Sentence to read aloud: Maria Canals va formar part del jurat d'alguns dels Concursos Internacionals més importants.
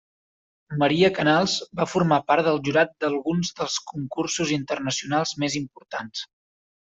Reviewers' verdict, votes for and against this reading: accepted, 3, 0